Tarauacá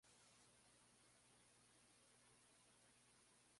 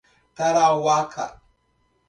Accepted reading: second